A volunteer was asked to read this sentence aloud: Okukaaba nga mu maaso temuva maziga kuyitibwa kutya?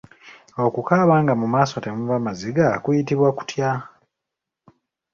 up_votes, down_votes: 2, 0